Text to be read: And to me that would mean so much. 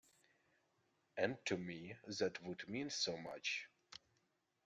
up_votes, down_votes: 2, 0